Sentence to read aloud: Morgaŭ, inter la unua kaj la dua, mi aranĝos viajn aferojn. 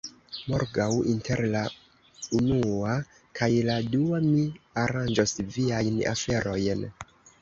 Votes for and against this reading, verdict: 2, 1, accepted